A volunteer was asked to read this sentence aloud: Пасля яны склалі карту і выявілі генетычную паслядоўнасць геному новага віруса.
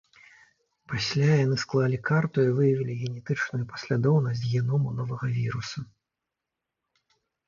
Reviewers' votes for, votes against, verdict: 2, 0, accepted